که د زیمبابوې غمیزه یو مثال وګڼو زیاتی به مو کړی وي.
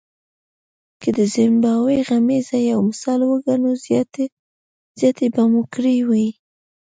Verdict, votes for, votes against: rejected, 0, 2